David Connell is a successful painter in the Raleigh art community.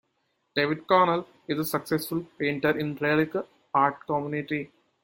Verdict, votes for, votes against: rejected, 0, 2